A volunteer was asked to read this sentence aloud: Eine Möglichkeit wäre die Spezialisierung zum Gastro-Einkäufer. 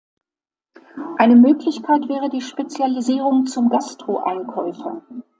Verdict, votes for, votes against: accepted, 2, 0